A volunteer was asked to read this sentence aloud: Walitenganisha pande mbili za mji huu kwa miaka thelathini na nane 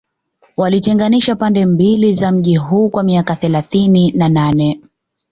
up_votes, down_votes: 2, 0